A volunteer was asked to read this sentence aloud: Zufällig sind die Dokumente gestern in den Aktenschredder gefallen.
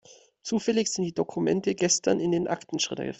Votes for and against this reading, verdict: 0, 2, rejected